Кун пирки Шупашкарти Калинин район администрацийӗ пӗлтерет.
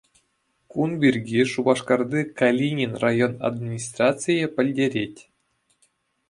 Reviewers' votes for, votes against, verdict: 2, 0, accepted